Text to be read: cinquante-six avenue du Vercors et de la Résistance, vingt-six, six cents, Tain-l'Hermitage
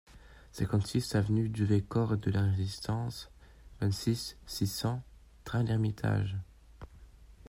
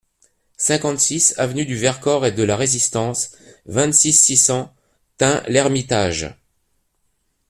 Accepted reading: second